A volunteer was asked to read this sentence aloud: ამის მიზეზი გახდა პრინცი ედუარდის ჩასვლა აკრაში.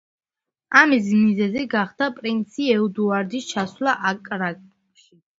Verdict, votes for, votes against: rejected, 0, 2